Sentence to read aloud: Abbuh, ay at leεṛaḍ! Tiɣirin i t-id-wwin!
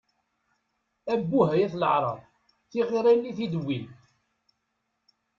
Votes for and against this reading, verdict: 1, 2, rejected